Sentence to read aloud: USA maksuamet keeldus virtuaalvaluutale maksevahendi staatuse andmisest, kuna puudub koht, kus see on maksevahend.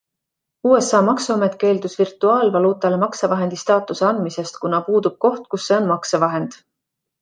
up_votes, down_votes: 2, 0